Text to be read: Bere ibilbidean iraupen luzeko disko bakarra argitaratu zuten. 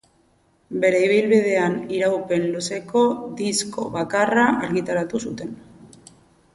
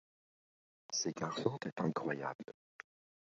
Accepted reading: first